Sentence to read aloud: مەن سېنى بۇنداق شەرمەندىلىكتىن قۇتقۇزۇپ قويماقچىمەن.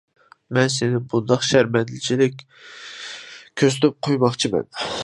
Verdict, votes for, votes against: rejected, 0, 2